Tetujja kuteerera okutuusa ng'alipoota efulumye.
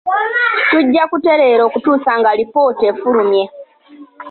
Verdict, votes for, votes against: rejected, 0, 2